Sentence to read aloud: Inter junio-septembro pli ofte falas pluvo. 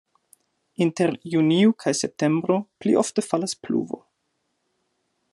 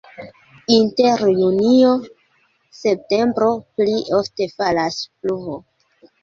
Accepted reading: second